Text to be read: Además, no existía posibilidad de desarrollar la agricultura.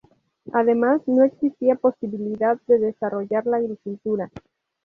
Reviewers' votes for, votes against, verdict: 2, 0, accepted